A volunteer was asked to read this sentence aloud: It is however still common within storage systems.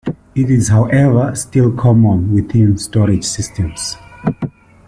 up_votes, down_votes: 2, 0